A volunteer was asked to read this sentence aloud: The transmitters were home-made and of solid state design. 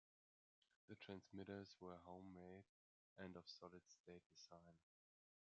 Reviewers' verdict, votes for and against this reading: accepted, 2, 0